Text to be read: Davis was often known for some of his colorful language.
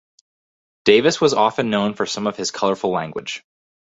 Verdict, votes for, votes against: rejected, 2, 2